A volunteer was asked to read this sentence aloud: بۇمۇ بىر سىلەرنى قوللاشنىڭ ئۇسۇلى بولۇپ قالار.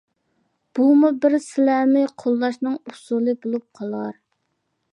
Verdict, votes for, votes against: accepted, 2, 0